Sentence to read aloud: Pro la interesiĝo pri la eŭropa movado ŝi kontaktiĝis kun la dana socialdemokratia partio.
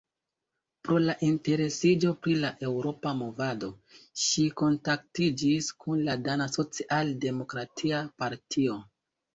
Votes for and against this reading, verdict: 3, 1, accepted